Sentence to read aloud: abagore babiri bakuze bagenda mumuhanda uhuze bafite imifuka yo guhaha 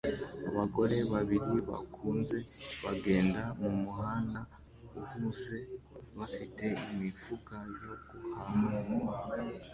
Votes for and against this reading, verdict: 2, 1, accepted